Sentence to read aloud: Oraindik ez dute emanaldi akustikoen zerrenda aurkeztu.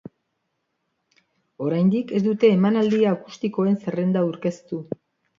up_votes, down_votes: 2, 0